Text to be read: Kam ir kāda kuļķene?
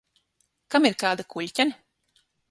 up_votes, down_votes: 3, 6